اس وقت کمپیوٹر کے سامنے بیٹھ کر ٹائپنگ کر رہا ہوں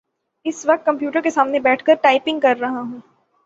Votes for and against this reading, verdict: 3, 3, rejected